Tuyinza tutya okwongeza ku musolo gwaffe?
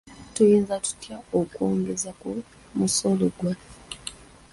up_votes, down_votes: 2, 1